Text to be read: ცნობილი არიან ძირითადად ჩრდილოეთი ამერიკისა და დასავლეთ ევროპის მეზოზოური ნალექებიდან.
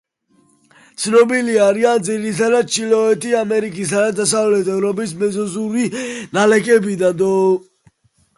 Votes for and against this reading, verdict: 2, 1, accepted